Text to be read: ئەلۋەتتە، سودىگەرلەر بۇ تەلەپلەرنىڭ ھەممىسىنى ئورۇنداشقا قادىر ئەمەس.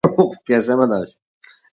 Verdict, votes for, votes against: rejected, 0, 2